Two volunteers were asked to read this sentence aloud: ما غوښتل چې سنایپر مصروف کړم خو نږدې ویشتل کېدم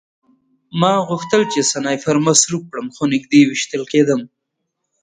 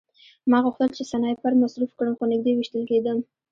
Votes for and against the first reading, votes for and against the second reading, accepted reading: 2, 0, 1, 2, first